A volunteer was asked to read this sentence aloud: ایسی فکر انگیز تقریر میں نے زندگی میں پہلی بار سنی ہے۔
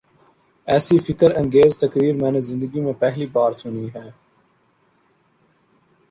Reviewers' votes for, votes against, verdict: 2, 0, accepted